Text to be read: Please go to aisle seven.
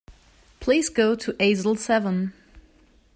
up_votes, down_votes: 0, 2